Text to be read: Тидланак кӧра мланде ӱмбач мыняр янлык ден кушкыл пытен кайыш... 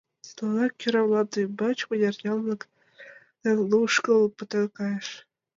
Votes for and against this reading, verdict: 1, 2, rejected